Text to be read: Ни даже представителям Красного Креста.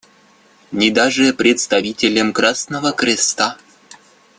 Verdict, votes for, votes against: accepted, 2, 0